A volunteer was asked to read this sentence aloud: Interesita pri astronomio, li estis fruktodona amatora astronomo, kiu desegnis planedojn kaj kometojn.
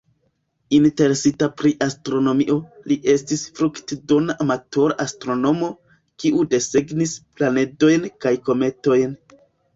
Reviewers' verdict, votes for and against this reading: accepted, 2, 1